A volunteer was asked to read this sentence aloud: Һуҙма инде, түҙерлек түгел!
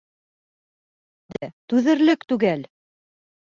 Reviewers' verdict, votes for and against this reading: rejected, 1, 2